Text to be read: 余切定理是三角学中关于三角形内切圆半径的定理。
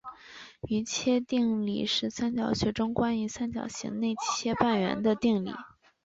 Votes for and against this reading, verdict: 2, 2, rejected